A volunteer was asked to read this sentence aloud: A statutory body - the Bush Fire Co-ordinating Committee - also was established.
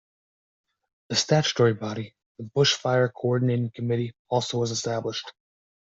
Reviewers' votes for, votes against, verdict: 2, 1, accepted